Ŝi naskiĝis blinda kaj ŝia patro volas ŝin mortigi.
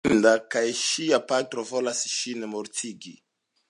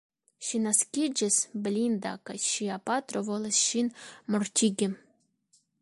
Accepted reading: second